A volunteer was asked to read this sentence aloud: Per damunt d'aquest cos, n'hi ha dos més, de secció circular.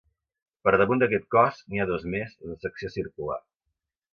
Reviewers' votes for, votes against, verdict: 2, 0, accepted